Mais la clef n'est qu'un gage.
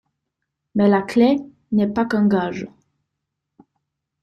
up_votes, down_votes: 0, 2